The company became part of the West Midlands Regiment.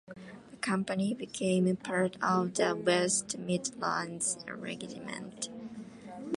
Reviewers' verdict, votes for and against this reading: accepted, 2, 0